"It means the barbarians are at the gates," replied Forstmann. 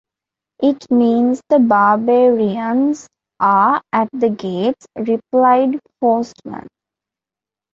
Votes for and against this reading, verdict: 2, 0, accepted